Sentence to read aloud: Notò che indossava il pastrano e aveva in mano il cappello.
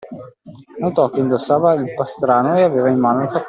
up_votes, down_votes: 0, 2